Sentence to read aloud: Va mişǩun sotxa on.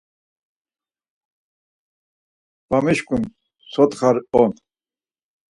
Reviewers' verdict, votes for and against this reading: accepted, 4, 2